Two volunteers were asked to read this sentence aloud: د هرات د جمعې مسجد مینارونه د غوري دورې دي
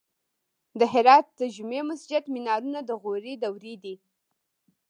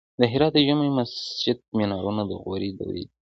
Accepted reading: second